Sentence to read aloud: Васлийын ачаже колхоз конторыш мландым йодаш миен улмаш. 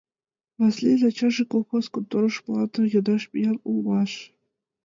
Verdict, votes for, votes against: accepted, 2, 0